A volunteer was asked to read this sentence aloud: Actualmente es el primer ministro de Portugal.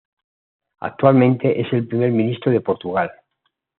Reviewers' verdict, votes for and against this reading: accepted, 2, 0